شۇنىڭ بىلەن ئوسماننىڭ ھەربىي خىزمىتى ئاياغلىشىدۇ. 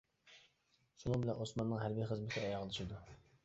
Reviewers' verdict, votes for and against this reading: rejected, 0, 2